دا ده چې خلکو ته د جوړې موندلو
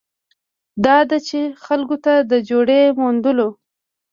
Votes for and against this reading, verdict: 1, 2, rejected